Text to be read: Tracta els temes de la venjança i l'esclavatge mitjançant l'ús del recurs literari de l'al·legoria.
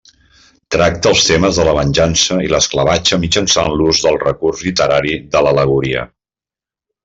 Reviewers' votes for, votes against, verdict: 2, 0, accepted